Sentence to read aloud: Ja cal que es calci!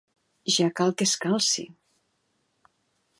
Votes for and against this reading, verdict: 2, 1, accepted